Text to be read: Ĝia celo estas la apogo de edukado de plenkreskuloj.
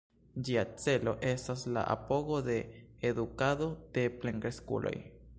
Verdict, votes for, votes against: accepted, 2, 0